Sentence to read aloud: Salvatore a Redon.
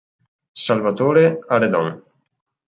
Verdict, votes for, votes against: accepted, 2, 0